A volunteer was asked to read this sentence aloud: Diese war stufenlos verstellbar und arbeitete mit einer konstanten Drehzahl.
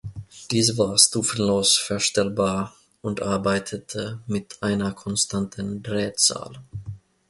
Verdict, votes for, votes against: accepted, 2, 0